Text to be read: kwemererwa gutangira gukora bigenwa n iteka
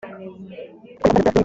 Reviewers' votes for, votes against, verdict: 0, 3, rejected